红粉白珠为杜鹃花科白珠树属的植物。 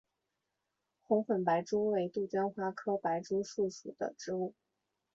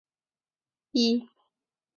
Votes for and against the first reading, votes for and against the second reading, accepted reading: 2, 1, 1, 7, first